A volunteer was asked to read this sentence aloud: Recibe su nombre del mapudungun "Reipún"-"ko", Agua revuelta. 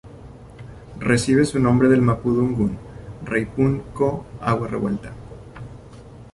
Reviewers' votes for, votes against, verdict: 1, 2, rejected